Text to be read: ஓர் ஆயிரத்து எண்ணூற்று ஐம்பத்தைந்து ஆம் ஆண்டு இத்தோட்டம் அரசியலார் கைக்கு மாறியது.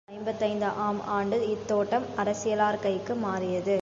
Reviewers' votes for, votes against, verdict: 0, 2, rejected